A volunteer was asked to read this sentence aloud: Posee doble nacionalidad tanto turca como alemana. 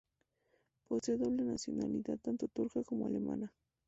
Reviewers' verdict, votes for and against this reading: accepted, 2, 0